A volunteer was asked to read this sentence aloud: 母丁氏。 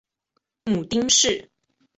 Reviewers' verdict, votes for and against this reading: accepted, 2, 0